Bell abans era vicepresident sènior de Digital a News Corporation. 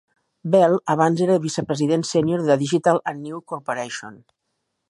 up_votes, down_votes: 1, 2